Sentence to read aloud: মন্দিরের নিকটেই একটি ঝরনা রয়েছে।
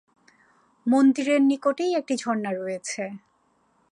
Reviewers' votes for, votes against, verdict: 4, 0, accepted